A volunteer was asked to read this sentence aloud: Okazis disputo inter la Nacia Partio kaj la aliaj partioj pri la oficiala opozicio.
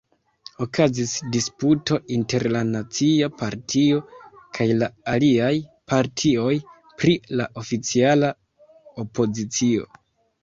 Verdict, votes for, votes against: accepted, 2, 0